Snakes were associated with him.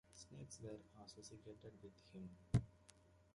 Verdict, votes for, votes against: accepted, 2, 0